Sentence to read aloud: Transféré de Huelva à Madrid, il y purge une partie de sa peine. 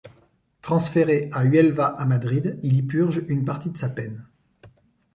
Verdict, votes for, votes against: rejected, 1, 2